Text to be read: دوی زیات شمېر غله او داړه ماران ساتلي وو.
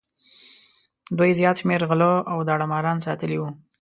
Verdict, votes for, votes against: accepted, 2, 0